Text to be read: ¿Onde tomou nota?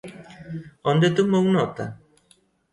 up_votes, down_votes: 2, 0